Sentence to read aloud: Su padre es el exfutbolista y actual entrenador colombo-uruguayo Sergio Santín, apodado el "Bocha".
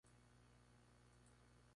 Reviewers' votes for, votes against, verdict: 0, 2, rejected